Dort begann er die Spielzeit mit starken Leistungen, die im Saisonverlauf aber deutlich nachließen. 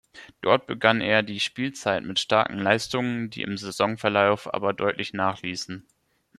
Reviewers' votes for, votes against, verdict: 2, 0, accepted